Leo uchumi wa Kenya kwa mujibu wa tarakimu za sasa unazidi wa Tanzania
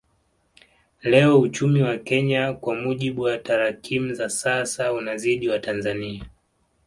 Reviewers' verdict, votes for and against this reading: accepted, 2, 0